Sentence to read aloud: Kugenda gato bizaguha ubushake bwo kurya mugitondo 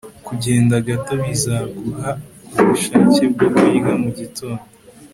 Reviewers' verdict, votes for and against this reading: accepted, 2, 0